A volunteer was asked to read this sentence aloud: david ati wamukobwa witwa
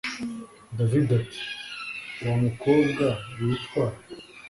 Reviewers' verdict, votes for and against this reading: accepted, 2, 0